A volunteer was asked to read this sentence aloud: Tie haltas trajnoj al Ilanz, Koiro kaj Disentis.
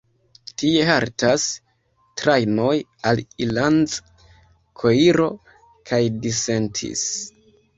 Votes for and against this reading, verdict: 1, 2, rejected